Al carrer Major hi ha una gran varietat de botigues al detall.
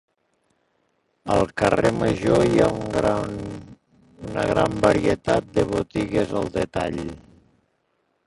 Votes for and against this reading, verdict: 0, 2, rejected